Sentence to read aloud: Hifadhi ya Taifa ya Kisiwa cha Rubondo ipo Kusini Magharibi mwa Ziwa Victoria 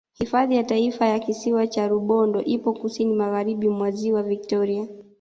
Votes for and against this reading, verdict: 2, 0, accepted